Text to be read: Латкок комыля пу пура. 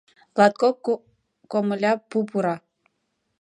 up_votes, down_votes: 0, 3